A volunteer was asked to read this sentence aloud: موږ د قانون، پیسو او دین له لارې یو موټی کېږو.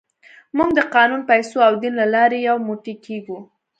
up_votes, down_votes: 2, 0